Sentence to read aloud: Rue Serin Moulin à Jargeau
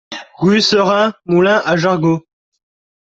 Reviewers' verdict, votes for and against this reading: accepted, 2, 0